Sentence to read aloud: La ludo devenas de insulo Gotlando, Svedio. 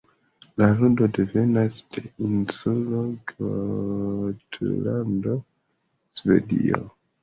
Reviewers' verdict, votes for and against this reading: accepted, 2, 0